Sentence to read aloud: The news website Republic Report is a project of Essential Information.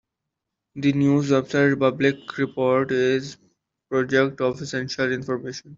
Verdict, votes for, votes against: rejected, 0, 2